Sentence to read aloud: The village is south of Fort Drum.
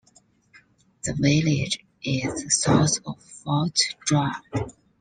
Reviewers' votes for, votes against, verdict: 0, 2, rejected